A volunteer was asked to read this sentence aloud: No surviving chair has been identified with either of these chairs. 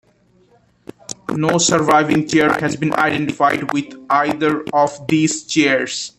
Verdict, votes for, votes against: rejected, 0, 2